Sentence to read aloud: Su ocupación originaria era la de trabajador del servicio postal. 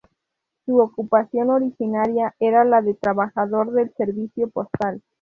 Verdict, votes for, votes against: accepted, 2, 0